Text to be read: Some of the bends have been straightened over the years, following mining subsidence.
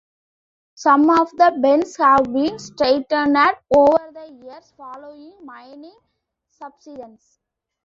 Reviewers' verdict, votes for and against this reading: accepted, 3, 2